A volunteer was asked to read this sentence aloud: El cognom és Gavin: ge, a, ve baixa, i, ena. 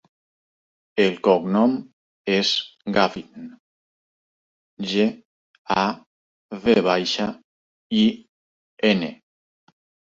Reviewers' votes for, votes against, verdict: 0, 4, rejected